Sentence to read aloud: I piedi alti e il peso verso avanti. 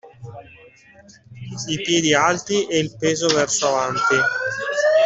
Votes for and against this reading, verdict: 1, 2, rejected